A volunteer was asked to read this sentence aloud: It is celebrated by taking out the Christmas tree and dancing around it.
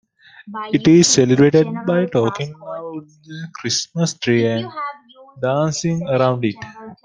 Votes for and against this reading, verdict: 0, 2, rejected